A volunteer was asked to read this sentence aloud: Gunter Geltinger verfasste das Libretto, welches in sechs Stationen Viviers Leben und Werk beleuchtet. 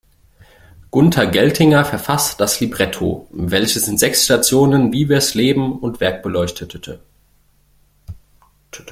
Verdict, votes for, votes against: rejected, 1, 2